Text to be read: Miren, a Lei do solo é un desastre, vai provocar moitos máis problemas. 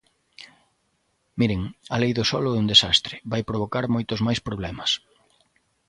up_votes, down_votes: 2, 0